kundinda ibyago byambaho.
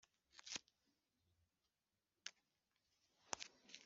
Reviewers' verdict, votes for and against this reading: rejected, 0, 2